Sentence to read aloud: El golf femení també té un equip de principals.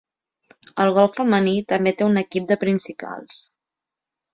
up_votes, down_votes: 3, 0